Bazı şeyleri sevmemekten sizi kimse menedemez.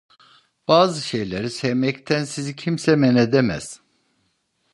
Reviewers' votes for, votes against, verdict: 1, 2, rejected